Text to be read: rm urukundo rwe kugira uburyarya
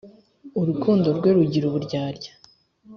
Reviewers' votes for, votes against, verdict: 1, 2, rejected